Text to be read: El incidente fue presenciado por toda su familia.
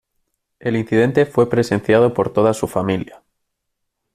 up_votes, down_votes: 2, 0